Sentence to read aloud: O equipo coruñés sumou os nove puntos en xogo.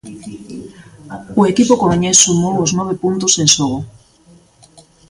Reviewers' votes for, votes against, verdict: 2, 0, accepted